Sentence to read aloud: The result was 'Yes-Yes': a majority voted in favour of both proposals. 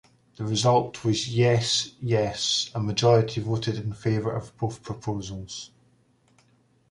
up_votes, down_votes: 2, 0